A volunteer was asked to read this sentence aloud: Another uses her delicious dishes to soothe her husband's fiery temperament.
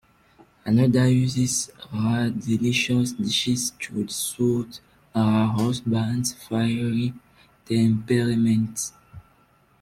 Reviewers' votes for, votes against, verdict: 0, 2, rejected